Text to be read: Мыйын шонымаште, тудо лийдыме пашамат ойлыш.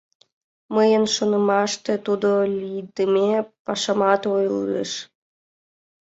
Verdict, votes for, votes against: rejected, 3, 5